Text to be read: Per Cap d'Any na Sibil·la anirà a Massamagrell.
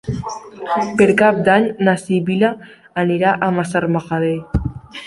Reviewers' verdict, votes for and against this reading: rejected, 0, 2